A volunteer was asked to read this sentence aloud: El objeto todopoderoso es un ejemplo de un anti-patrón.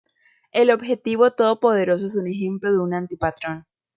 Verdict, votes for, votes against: rejected, 0, 2